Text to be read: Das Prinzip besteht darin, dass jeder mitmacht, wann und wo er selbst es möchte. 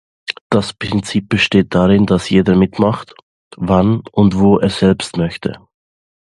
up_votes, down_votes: 2, 0